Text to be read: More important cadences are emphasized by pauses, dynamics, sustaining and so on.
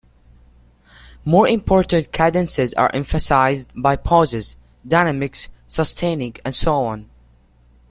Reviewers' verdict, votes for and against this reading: accepted, 2, 0